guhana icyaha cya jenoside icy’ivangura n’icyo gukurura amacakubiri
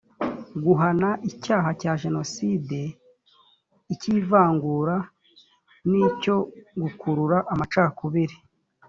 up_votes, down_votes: 2, 0